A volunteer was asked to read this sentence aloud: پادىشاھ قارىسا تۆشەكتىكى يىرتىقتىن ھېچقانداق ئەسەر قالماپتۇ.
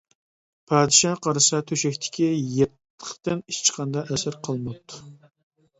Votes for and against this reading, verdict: 1, 2, rejected